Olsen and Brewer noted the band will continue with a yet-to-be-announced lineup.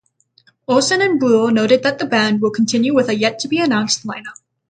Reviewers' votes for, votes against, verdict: 0, 3, rejected